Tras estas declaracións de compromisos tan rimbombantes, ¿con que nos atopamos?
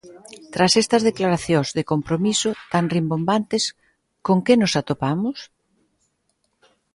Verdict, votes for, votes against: rejected, 0, 2